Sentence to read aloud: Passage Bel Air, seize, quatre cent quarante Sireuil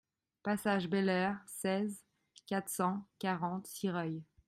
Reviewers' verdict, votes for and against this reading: accepted, 2, 0